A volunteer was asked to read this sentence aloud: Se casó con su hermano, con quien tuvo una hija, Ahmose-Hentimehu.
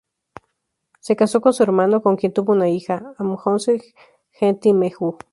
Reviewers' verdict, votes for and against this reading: rejected, 0, 2